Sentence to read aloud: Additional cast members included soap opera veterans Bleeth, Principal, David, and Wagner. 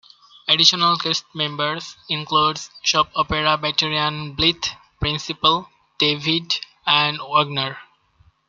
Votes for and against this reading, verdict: 2, 0, accepted